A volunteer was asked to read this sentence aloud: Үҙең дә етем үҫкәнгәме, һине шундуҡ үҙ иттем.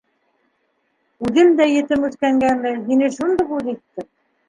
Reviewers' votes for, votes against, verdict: 2, 1, accepted